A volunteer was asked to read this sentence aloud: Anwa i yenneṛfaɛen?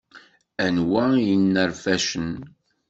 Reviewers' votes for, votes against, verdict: 1, 2, rejected